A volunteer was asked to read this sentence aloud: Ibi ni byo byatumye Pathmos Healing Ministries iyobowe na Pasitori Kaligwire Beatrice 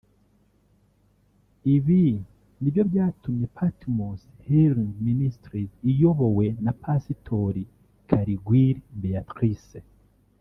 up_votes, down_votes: 0, 2